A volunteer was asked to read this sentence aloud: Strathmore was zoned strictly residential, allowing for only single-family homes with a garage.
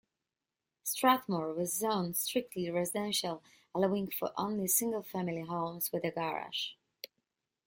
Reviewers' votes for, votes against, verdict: 2, 0, accepted